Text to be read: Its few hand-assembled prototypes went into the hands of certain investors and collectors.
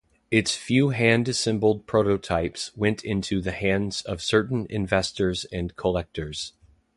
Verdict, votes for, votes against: rejected, 0, 2